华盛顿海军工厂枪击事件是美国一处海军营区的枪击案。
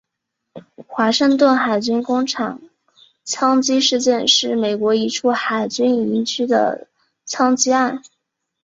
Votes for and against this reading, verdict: 2, 1, accepted